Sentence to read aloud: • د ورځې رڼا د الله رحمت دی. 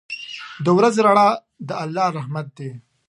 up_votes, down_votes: 4, 0